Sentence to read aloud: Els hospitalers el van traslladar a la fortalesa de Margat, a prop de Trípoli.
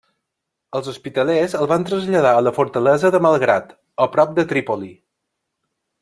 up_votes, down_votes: 1, 2